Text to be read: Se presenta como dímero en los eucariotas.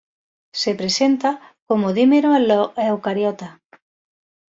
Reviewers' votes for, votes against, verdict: 2, 0, accepted